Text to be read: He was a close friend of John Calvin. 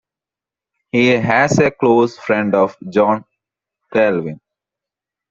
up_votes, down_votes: 1, 2